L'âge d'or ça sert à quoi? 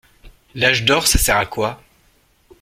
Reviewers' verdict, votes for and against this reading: accepted, 2, 0